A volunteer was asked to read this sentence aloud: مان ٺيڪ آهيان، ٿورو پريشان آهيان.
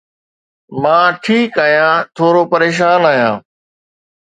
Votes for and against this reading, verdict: 2, 0, accepted